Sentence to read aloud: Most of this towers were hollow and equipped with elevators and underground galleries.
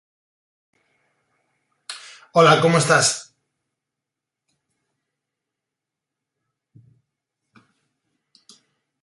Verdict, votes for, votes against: rejected, 0, 2